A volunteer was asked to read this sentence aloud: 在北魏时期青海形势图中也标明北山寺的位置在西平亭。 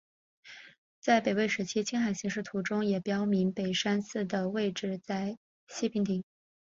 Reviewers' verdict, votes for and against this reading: accepted, 3, 0